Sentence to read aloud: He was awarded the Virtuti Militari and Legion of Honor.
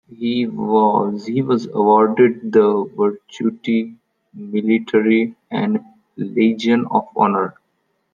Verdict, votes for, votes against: rejected, 0, 2